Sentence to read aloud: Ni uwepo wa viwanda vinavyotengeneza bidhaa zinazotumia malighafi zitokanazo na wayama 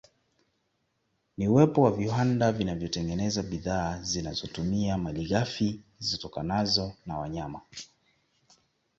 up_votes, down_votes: 2, 0